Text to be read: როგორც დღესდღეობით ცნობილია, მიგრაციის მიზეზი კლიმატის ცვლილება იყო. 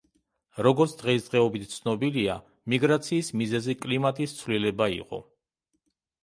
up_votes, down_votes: 1, 2